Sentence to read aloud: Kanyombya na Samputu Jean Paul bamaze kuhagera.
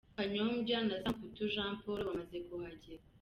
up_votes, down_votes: 0, 2